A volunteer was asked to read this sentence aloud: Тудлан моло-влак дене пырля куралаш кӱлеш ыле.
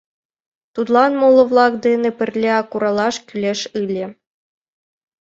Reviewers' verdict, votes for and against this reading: accepted, 2, 1